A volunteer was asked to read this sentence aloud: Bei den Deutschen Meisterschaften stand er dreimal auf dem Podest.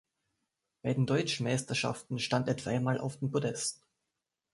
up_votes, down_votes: 2, 0